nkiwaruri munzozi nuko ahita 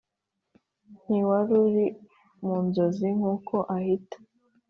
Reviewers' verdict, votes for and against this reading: accepted, 2, 0